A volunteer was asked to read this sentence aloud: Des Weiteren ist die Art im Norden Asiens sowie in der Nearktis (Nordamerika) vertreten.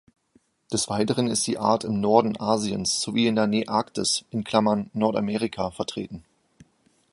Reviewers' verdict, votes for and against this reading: rejected, 0, 2